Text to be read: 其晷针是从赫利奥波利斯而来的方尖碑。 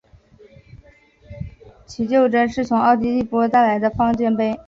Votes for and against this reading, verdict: 2, 0, accepted